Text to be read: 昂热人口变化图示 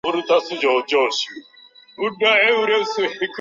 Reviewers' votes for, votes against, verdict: 0, 2, rejected